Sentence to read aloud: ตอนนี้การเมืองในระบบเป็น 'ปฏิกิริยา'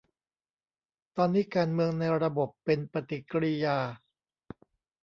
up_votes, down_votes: 2, 0